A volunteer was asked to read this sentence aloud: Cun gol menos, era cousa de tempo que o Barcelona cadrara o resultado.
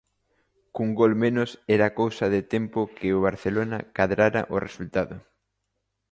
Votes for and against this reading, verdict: 2, 0, accepted